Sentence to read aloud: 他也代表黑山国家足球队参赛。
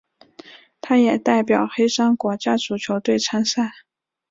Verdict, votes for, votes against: accepted, 3, 1